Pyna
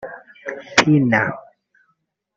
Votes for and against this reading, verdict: 1, 2, rejected